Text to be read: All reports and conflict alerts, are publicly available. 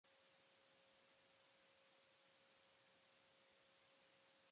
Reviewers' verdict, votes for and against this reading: rejected, 0, 2